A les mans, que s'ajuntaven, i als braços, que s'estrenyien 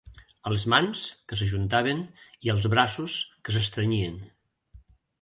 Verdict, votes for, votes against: accepted, 2, 1